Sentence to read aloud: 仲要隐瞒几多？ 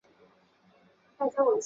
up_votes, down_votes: 0, 3